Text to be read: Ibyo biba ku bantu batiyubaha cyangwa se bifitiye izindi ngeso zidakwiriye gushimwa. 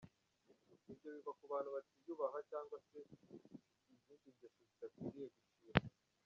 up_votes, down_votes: 0, 2